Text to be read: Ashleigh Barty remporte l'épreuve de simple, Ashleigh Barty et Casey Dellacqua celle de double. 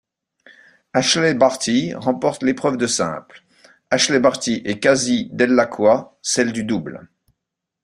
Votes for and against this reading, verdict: 0, 2, rejected